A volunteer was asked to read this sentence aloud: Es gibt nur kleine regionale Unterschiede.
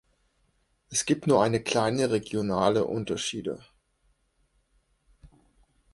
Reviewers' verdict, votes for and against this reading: rejected, 1, 2